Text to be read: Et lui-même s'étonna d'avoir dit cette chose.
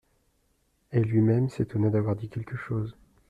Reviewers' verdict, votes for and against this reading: rejected, 0, 2